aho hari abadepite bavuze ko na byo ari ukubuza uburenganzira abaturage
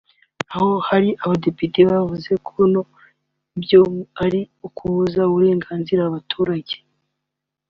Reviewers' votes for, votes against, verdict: 1, 2, rejected